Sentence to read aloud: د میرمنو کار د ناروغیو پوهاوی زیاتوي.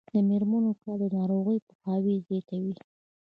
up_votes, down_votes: 2, 0